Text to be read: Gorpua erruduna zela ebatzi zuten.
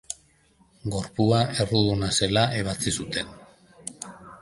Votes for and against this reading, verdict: 2, 0, accepted